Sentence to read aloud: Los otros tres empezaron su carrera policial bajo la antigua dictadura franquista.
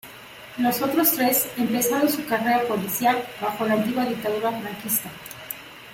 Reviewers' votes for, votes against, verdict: 0, 2, rejected